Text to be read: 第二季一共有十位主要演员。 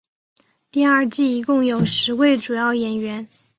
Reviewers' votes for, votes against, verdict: 2, 0, accepted